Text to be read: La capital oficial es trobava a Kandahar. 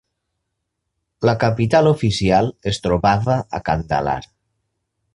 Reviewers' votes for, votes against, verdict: 1, 2, rejected